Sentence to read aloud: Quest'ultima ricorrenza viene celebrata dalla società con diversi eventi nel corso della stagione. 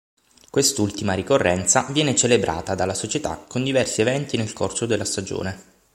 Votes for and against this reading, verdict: 6, 0, accepted